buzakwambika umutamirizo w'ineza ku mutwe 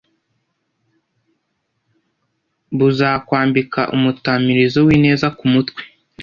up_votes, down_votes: 2, 0